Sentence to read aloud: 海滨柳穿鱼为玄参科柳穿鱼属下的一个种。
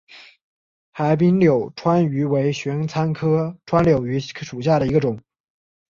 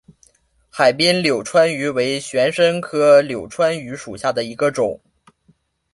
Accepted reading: second